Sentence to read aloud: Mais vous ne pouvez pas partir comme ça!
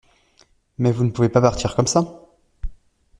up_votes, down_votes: 2, 0